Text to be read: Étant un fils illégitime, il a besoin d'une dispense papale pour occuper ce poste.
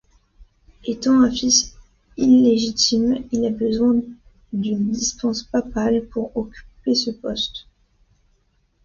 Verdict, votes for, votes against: accepted, 2, 0